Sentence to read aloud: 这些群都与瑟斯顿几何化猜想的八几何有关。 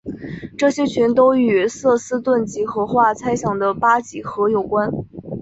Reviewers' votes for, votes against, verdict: 2, 0, accepted